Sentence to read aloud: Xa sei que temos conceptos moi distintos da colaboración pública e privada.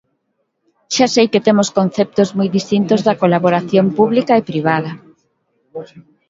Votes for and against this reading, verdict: 1, 2, rejected